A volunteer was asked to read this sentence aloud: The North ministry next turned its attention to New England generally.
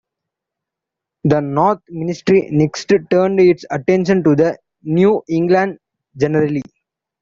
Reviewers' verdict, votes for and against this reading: rejected, 0, 2